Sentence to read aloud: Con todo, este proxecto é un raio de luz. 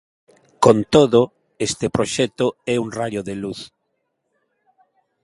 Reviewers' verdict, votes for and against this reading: accepted, 2, 0